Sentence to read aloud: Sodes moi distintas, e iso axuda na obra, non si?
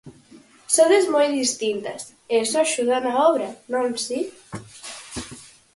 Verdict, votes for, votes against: accepted, 4, 2